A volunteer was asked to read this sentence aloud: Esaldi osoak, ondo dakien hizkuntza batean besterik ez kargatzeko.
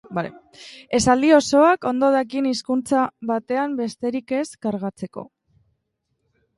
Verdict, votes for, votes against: rejected, 1, 2